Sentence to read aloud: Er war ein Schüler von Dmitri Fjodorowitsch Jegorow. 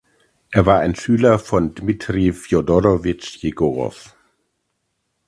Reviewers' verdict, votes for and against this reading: accepted, 2, 0